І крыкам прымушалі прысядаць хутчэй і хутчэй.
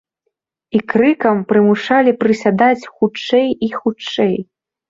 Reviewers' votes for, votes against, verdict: 2, 0, accepted